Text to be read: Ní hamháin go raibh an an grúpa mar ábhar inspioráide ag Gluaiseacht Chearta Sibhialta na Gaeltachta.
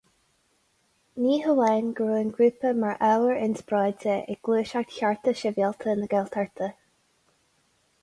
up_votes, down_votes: 2, 0